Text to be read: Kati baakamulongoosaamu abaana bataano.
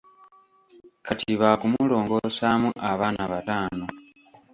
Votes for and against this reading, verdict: 1, 2, rejected